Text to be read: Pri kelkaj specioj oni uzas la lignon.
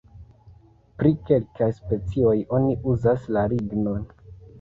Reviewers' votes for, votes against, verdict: 2, 0, accepted